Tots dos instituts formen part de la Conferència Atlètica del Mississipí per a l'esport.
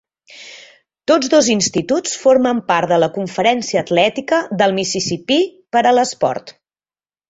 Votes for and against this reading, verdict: 5, 0, accepted